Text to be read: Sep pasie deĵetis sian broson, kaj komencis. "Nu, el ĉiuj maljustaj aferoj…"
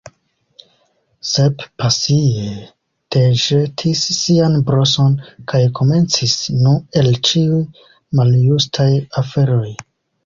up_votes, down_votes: 1, 3